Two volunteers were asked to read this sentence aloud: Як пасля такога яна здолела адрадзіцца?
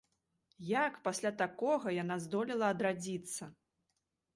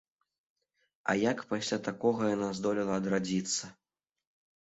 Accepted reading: first